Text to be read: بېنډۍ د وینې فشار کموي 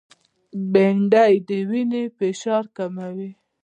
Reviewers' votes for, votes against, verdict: 2, 0, accepted